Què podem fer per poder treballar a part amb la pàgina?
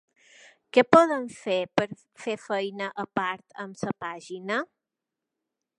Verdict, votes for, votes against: rejected, 0, 2